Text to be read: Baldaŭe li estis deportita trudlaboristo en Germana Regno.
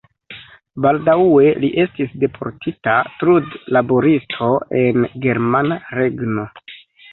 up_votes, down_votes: 0, 2